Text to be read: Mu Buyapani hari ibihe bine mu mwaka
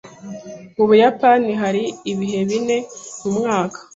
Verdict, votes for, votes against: accepted, 2, 0